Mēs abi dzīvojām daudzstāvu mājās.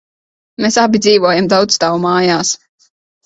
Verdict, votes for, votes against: rejected, 1, 2